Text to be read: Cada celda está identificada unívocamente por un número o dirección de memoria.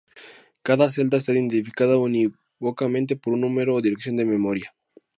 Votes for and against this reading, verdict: 0, 4, rejected